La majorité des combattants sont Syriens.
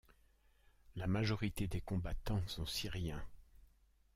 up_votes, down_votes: 0, 2